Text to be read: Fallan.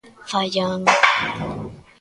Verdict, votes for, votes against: rejected, 1, 2